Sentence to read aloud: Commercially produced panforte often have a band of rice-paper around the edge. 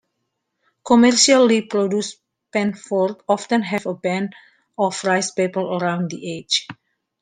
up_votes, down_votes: 0, 2